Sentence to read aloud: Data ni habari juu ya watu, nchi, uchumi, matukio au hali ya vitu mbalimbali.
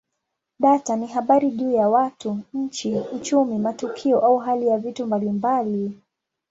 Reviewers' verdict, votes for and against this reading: accepted, 2, 0